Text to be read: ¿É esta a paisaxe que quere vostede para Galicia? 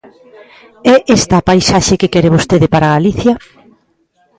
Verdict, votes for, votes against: accepted, 2, 0